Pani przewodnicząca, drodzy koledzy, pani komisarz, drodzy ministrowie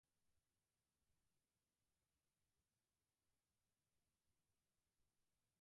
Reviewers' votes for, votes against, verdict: 0, 4, rejected